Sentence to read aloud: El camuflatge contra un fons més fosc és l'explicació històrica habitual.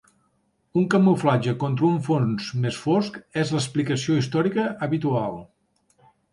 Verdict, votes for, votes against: rejected, 0, 2